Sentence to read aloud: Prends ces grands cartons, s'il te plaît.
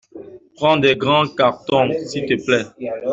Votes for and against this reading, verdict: 1, 2, rejected